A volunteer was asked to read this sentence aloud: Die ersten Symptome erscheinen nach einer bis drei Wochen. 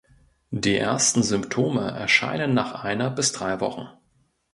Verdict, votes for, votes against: accepted, 2, 0